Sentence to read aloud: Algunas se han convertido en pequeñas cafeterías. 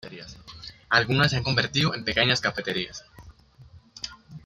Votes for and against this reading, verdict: 1, 2, rejected